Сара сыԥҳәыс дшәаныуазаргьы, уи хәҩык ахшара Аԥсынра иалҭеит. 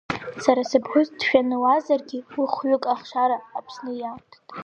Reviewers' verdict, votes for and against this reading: rejected, 2, 3